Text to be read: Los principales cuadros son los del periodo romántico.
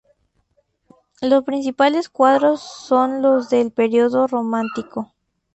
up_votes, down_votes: 2, 0